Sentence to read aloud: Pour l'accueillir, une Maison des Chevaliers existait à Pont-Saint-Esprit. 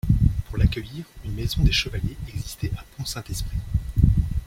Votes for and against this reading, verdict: 1, 2, rejected